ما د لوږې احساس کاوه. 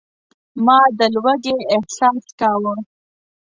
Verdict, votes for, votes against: accepted, 2, 0